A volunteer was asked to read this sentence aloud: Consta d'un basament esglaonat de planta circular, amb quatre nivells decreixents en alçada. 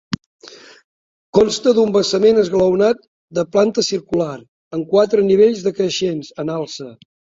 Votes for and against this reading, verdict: 0, 2, rejected